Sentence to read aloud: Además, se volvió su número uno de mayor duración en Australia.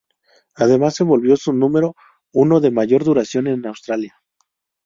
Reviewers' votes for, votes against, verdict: 2, 0, accepted